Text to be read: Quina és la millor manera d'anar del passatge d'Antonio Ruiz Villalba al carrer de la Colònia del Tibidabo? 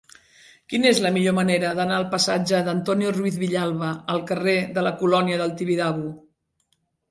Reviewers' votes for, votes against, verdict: 1, 2, rejected